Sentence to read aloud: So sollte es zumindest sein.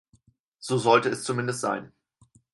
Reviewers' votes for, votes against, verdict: 4, 0, accepted